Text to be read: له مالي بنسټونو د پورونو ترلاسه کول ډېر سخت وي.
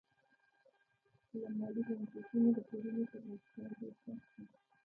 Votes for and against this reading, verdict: 0, 2, rejected